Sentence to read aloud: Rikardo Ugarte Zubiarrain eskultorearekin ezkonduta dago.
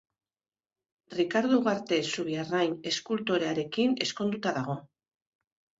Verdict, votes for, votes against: accepted, 2, 0